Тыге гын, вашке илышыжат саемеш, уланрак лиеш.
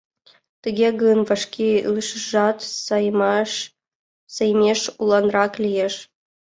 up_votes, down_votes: 0, 2